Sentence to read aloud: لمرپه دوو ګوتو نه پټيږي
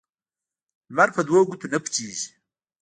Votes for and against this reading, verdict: 2, 0, accepted